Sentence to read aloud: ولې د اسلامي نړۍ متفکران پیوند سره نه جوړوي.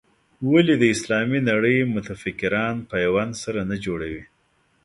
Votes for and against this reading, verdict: 2, 0, accepted